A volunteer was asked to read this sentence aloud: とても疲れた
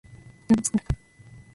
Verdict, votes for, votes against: rejected, 0, 2